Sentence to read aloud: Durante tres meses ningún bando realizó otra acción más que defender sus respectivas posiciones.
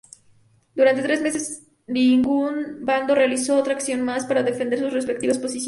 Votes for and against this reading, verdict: 0, 2, rejected